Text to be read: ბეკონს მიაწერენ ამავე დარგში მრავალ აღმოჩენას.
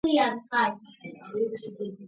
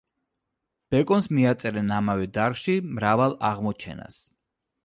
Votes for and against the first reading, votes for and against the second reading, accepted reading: 1, 2, 2, 0, second